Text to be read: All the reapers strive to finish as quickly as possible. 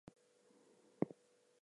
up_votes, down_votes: 0, 2